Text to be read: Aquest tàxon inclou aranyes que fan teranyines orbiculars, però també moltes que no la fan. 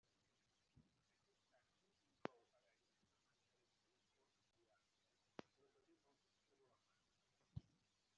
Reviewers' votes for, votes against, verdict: 0, 2, rejected